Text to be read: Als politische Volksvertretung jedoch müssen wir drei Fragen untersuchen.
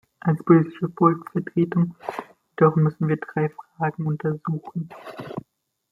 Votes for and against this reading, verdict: 1, 2, rejected